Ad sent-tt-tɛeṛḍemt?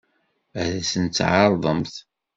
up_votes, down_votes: 2, 1